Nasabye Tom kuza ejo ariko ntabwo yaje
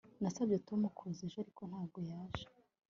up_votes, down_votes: 2, 0